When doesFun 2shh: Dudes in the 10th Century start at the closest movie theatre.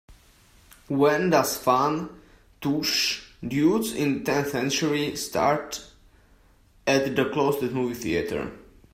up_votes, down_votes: 0, 2